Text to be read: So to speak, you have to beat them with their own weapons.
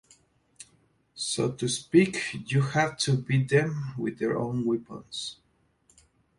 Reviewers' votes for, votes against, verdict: 2, 0, accepted